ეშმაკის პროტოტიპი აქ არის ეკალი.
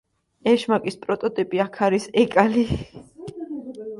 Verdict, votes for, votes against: accepted, 2, 0